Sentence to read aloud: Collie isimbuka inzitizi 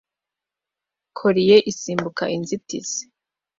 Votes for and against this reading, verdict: 2, 0, accepted